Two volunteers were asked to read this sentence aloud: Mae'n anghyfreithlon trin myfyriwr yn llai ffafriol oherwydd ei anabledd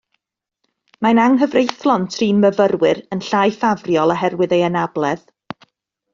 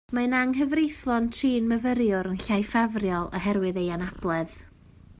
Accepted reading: second